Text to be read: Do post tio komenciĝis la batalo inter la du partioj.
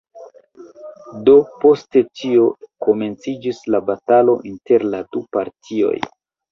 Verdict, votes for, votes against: rejected, 1, 2